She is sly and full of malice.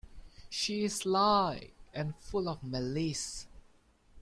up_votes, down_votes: 1, 2